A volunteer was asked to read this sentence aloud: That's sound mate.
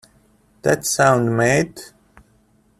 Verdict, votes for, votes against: accepted, 2, 0